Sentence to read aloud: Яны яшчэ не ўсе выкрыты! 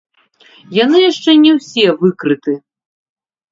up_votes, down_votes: 2, 3